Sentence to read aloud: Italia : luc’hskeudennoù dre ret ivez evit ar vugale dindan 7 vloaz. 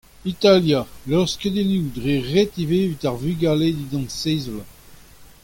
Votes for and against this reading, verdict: 0, 2, rejected